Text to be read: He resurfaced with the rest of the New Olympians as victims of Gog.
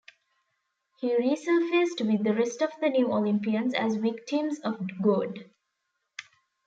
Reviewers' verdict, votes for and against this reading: accepted, 2, 0